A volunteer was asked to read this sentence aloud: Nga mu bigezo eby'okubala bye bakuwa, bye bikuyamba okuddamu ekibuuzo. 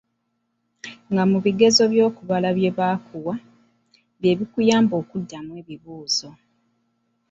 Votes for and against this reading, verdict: 1, 2, rejected